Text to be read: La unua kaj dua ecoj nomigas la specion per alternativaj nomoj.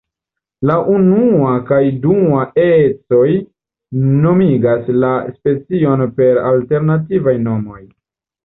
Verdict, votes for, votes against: rejected, 0, 2